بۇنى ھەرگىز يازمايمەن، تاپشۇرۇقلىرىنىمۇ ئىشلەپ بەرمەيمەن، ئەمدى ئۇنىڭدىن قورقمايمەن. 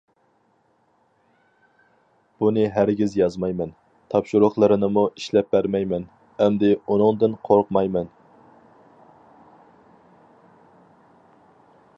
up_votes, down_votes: 4, 0